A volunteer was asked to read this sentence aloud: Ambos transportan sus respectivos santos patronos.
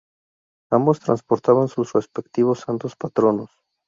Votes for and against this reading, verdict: 0, 2, rejected